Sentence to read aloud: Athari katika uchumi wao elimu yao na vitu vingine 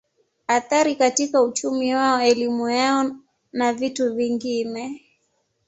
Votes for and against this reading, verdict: 2, 0, accepted